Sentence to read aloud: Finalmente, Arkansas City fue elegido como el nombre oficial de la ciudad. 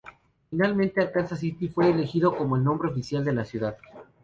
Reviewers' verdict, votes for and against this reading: accepted, 2, 0